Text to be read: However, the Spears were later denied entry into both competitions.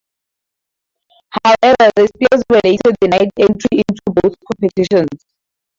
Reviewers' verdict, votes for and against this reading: rejected, 2, 2